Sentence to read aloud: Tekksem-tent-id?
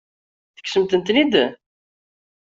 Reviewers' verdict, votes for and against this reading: rejected, 1, 2